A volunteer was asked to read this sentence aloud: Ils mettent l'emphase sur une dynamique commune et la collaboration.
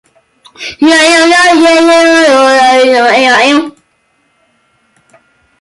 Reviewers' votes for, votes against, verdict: 0, 2, rejected